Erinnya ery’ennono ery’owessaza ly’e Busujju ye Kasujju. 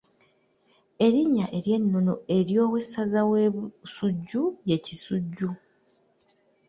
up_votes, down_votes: 1, 3